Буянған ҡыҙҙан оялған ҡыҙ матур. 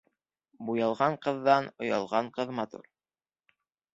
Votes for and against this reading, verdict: 1, 2, rejected